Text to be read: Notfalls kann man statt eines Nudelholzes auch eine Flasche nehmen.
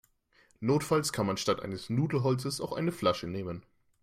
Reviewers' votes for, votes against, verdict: 2, 0, accepted